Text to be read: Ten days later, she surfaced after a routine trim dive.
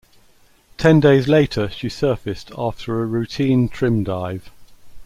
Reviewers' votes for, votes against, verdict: 2, 0, accepted